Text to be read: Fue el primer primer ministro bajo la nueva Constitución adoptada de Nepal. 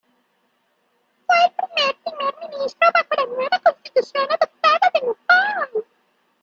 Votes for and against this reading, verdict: 0, 2, rejected